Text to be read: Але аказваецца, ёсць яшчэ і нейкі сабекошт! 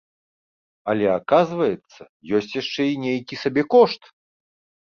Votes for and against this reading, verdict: 2, 0, accepted